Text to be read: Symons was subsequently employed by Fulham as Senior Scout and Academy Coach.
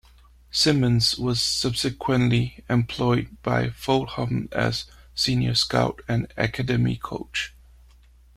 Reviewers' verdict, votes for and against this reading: accepted, 2, 0